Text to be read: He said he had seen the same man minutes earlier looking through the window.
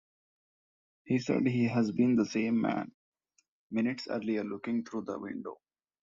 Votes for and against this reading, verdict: 0, 2, rejected